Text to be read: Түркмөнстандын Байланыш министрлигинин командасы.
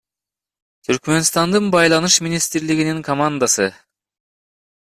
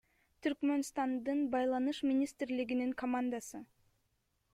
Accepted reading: second